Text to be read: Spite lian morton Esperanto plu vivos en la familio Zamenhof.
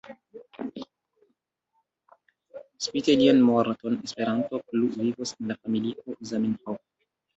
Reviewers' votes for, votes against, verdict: 1, 2, rejected